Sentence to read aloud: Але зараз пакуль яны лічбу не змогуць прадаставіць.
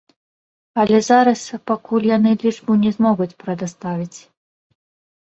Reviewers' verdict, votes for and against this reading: rejected, 0, 2